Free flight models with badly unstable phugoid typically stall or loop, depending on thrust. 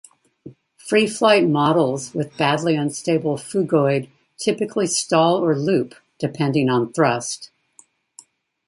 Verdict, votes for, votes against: accepted, 2, 0